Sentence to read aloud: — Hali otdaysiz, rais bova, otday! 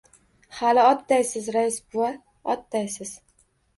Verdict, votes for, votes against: rejected, 1, 2